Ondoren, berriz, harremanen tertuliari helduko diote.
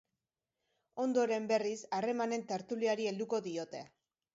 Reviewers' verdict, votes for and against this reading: accepted, 2, 0